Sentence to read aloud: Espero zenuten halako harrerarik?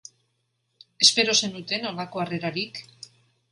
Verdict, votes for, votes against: rejected, 1, 2